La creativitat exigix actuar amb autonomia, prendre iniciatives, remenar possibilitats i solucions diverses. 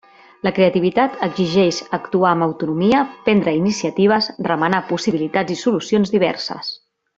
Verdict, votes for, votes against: rejected, 0, 2